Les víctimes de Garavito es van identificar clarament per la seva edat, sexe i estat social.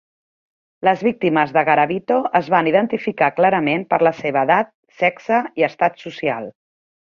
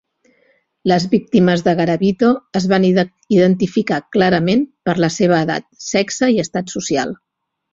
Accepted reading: first